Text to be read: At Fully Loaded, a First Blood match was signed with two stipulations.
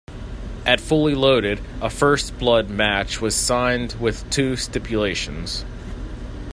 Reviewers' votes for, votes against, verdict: 1, 2, rejected